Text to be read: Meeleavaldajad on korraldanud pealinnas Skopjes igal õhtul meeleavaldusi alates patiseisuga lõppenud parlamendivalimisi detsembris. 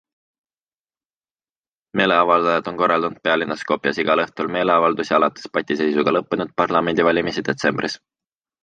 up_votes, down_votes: 2, 0